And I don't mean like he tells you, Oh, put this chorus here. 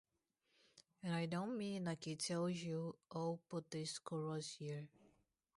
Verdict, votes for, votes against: rejected, 0, 2